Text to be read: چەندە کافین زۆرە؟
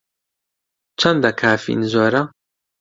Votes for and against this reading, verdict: 2, 0, accepted